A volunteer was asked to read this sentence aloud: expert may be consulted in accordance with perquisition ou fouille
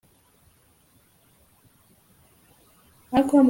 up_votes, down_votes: 0, 2